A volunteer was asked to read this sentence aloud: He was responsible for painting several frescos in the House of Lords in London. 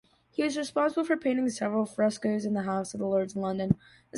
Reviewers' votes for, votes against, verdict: 2, 0, accepted